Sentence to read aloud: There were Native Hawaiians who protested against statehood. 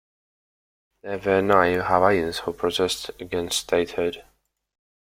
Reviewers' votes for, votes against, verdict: 0, 2, rejected